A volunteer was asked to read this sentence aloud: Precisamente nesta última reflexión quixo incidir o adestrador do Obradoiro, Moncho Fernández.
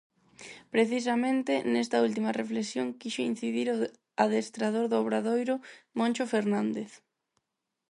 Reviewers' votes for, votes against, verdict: 0, 4, rejected